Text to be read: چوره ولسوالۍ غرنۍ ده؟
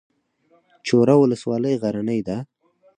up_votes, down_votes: 4, 0